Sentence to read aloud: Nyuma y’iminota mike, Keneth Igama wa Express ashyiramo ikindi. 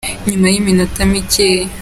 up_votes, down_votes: 0, 5